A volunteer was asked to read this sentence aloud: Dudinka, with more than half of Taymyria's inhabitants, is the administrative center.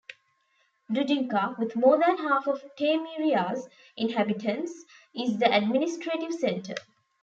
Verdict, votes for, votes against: accepted, 2, 0